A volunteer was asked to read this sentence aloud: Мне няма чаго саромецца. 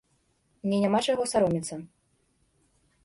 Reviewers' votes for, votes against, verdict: 2, 1, accepted